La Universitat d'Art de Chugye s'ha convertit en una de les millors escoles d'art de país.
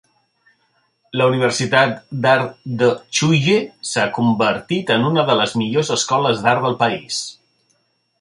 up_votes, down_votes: 0, 2